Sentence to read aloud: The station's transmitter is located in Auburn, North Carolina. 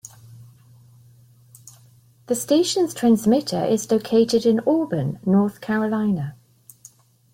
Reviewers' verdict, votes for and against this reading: accepted, 2, 0